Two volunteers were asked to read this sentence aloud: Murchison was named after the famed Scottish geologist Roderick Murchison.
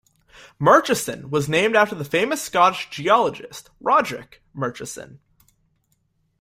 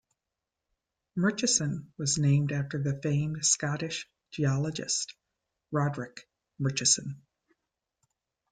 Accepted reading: second